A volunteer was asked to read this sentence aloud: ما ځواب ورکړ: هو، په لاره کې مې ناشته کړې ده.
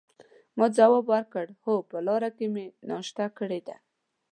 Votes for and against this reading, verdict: 2, 0, accepted